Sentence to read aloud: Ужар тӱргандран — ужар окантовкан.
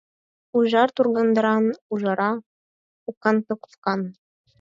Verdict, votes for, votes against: rejected, 2, 4